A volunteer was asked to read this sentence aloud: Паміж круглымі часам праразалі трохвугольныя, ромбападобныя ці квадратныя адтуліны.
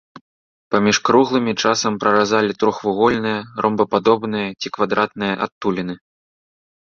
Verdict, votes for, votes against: accepted, 2, 0